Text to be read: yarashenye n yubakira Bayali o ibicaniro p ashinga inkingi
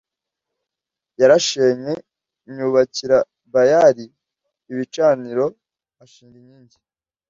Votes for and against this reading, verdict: 2, 0, accepted